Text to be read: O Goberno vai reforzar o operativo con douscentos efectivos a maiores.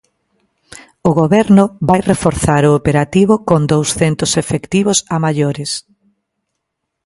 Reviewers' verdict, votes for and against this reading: accepted, 2, 0